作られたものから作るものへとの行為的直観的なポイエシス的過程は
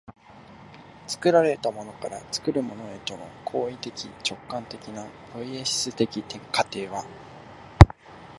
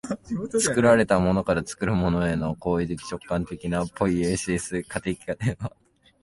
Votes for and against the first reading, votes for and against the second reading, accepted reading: 0, 2, 2, 0, second